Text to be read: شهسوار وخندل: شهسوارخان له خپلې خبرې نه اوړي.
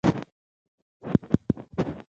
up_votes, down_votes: 2, 1